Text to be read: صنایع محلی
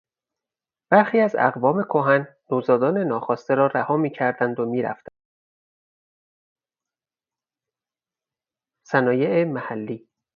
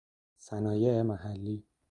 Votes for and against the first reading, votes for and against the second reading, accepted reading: 0, 4, 2, 0, second